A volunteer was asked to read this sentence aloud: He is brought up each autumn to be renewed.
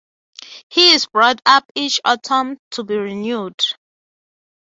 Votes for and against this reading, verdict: 9, 0, accepted